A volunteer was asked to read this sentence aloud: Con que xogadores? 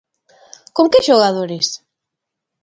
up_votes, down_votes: 3, 0